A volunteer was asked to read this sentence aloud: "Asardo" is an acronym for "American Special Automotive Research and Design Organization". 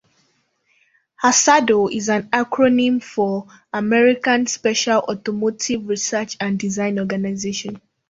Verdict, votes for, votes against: accepted, 2, 0